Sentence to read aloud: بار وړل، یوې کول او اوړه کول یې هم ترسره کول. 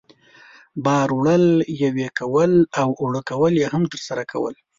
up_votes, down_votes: 2, 0